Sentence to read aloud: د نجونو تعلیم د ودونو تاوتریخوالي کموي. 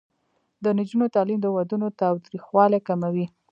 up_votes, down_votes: 2, 0